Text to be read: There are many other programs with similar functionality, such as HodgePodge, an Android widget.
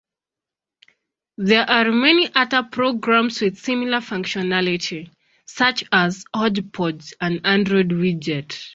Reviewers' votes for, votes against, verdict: 2, 0, accepted